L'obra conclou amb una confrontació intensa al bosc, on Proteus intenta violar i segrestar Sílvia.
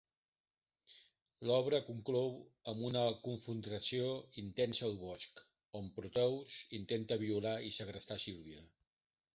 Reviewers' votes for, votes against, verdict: 0, 2, rejected